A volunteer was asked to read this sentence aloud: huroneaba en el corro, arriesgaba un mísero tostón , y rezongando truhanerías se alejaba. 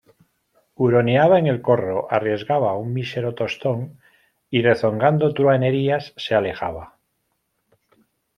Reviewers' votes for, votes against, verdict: 2, 0, accepted